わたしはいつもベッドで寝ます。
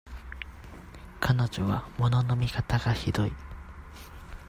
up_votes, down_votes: 0, 2